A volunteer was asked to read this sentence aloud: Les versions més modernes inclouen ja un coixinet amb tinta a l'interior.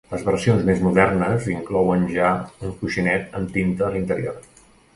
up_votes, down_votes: 2, 0